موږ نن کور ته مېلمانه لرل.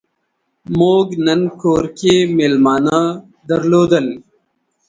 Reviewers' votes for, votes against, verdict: 0, 2, rejected